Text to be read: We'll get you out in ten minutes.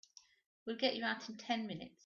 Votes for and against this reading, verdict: 2, 0, accepted